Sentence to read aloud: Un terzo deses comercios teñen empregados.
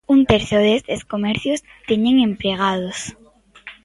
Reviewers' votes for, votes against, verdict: 1, 2, rejected